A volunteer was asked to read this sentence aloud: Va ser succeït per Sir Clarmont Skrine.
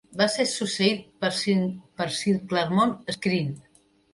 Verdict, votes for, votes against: rejected, 1, 2